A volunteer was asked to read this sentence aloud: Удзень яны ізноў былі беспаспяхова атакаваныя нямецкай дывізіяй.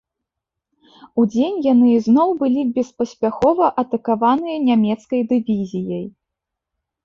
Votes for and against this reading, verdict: 2, 0, accepted